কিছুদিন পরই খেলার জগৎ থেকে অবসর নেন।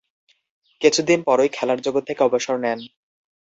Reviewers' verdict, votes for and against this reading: accepted, 2, 0